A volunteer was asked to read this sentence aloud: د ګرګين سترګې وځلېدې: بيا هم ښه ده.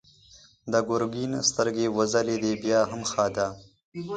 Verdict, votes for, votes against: accepted, 4, 2